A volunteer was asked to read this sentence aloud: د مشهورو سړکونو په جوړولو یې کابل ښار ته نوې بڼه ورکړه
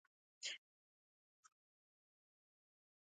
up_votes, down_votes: 0, 2